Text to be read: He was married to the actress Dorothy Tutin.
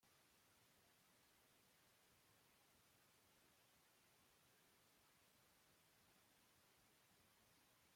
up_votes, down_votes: 1, 2